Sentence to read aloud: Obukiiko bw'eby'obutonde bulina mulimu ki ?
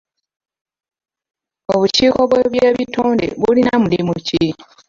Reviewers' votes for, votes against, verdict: 0, 2, rejected